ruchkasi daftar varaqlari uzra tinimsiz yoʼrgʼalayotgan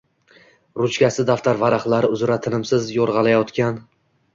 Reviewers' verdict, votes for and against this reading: accepted, 2, 1